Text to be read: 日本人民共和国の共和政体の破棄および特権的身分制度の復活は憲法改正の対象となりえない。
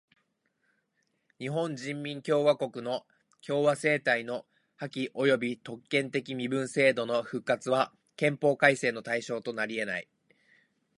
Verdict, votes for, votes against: rejected, 1, 2